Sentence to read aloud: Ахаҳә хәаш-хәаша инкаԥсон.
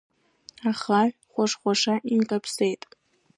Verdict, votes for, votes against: rejected, 0, 2